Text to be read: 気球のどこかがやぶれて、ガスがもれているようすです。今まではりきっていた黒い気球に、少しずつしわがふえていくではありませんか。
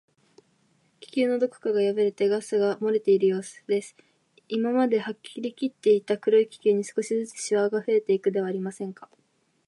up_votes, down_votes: 2, 0